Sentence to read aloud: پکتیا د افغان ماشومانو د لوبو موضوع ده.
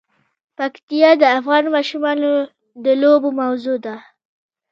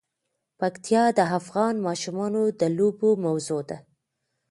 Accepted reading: second